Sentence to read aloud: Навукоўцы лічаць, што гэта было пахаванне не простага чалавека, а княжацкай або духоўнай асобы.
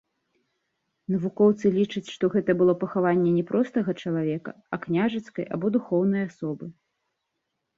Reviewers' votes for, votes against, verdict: 2, 0, accepted